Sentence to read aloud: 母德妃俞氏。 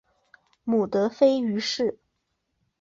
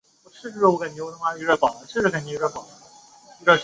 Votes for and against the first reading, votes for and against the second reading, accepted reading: 3, 0, 2, 4, first